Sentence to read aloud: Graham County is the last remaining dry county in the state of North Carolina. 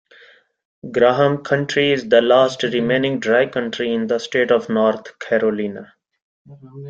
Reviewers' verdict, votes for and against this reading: rejected, 0, 2